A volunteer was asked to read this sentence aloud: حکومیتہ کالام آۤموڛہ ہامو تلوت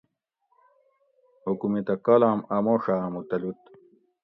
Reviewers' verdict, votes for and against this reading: accepted, 2, 0